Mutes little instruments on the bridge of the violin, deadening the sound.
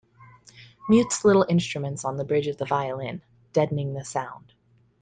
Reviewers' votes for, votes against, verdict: 2, 0, accepted